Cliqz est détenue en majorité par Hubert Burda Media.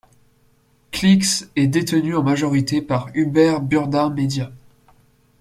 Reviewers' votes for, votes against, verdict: 2, 0, accepted